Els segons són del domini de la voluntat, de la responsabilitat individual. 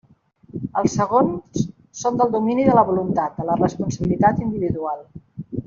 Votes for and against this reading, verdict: 3, 0, accepted